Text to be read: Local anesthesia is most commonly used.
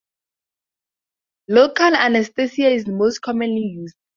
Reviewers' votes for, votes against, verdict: 4, 0, accepted